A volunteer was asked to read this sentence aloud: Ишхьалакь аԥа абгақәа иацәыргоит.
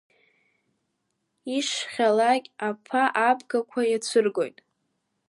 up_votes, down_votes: 2, 0